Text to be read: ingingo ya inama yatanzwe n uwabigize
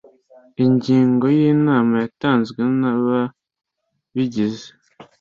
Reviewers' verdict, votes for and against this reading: accepted, 2, 1